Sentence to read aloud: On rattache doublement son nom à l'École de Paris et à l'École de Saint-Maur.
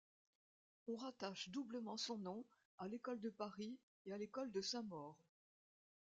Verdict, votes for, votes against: accepted, 2, 0